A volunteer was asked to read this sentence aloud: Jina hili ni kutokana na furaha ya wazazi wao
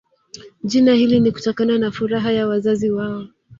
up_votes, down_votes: 1, 2